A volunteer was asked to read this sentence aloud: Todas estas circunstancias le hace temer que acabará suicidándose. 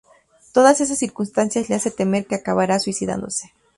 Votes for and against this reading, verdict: 2, 0, accepted